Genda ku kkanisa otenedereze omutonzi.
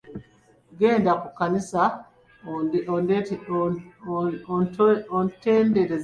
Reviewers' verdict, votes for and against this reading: rejected, 0, 2